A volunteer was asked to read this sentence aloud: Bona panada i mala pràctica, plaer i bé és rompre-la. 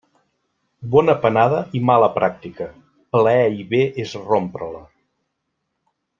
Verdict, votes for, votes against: accepted, 2, 0